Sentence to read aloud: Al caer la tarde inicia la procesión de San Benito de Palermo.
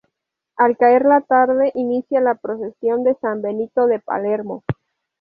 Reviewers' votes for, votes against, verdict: 2, 0, accepted